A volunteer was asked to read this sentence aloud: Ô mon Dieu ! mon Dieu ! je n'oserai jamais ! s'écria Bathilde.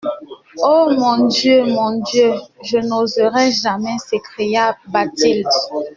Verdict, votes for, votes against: accepted, 2, 0